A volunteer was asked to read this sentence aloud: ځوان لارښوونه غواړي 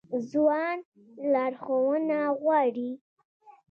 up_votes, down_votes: 0, 2